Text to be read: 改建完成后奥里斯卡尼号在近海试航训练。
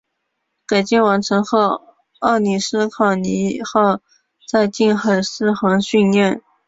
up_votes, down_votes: 4, 4